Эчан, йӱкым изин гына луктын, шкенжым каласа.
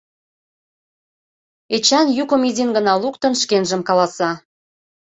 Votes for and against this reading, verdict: 2, 0, accepted